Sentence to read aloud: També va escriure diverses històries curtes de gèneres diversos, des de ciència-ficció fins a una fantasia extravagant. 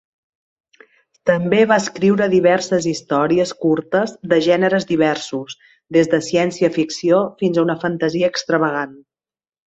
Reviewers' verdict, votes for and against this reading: accepted, 2, 0